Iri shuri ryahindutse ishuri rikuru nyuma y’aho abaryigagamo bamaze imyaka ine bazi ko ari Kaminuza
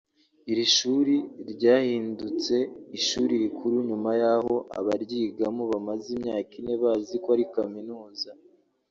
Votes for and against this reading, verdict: 1, 2, rejected